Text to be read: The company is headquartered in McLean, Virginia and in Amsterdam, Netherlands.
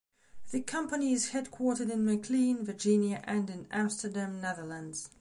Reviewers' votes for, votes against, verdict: 2, 0, accepted